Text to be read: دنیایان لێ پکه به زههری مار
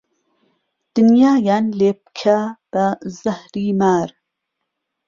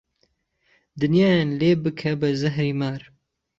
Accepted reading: first